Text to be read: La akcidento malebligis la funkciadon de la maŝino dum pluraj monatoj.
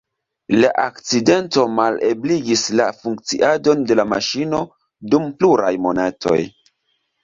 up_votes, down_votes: 2, 0